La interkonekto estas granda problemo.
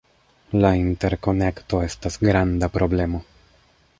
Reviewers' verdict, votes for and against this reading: accepted, 2, 0